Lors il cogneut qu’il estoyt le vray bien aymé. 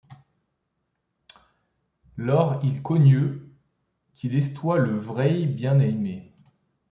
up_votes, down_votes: 2, 1